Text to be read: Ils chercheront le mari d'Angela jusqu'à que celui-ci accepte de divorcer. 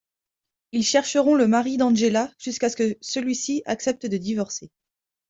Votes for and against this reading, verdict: 2, 0, accepted